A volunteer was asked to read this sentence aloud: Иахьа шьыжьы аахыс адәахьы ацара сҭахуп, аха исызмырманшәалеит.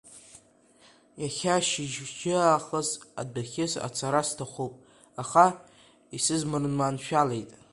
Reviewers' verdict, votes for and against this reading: rejected, 0, 2